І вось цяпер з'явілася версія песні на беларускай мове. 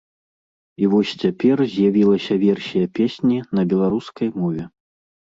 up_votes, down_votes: 2, 0